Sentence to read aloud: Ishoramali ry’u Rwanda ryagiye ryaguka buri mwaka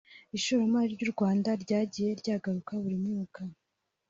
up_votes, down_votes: 1, 2